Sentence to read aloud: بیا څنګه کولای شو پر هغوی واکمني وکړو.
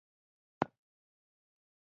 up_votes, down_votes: 1, 2